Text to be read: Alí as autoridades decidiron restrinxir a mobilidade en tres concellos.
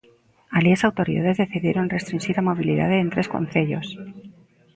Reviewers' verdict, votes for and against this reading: accepted, 3, 0